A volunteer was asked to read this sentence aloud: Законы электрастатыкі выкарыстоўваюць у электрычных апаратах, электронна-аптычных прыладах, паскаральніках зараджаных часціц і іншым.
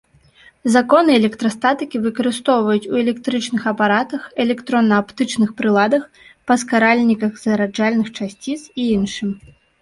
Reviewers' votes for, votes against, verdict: 0, 2, rejected